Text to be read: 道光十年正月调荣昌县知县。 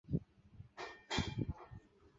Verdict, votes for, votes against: rejected, 1, 2